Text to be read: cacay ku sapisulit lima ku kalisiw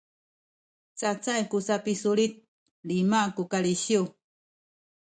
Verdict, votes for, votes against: rejected, 1, 2